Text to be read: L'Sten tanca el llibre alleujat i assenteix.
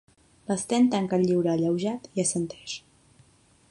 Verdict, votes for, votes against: accepted, 2, 0